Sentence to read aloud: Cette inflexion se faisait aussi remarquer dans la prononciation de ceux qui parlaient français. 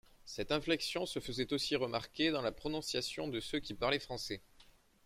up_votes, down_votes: 2, 0